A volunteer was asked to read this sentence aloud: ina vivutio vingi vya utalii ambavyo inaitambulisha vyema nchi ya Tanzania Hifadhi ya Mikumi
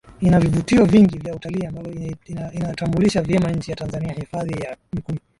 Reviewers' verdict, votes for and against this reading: accepted, 3, 0